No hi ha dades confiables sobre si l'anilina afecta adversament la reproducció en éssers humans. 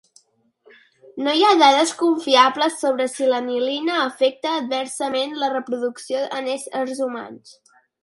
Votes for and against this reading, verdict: 4, 0, accepted